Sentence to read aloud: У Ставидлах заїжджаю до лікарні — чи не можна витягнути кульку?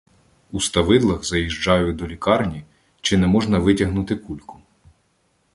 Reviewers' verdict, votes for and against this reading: rejected, 0, 2